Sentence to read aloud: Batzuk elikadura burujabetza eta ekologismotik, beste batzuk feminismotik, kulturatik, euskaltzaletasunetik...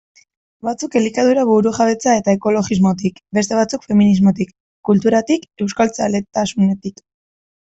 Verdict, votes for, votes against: rejected, 0, 2